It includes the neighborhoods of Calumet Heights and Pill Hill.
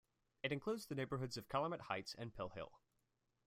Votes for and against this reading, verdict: 0, 2, rejected